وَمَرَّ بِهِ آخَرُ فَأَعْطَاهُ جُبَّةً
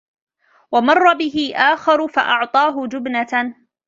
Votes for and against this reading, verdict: 1, 2, rejected